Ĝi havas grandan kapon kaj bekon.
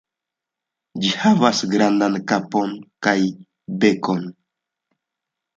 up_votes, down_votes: 2, 0